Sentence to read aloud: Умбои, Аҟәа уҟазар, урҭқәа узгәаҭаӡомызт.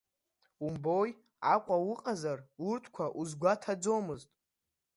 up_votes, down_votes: 2, 0